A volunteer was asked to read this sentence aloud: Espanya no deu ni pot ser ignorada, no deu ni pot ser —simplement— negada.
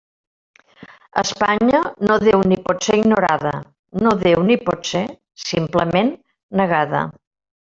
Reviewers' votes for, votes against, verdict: 1, 2, rejected